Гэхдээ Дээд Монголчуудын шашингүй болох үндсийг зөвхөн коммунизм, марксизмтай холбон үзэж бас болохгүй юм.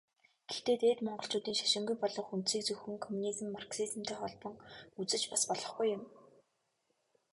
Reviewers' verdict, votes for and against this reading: rejected, 0, 2